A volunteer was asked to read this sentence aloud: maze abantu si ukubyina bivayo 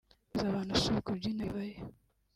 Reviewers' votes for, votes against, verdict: 1, 2, rejected